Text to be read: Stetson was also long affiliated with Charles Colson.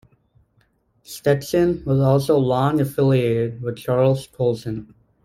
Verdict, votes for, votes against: rejected, 1, 2